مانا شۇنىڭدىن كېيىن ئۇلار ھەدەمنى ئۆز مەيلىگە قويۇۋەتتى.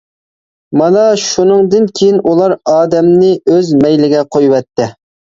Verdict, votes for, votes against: rejected, 0, 2